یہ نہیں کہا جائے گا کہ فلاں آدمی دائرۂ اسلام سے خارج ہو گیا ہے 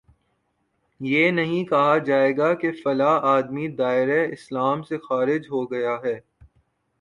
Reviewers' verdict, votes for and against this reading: rejected, 1, 2